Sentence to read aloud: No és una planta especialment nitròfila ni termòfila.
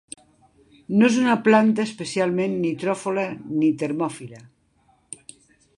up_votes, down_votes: 1, 2